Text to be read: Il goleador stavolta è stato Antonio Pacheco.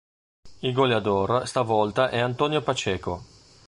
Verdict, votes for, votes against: rejected, 1, 2